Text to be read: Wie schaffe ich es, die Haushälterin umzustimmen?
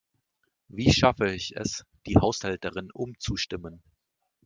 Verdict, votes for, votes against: accepted, 2, 0